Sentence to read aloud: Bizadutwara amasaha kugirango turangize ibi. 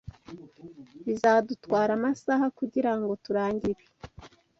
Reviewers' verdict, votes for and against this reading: rejected, 1, 2